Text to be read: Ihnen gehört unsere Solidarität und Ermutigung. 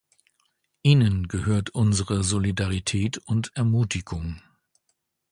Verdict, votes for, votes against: accepted, 2, 0